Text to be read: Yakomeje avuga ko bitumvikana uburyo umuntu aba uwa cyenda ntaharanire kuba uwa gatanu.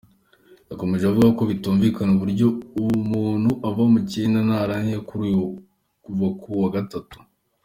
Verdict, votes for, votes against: rejected, 0, 2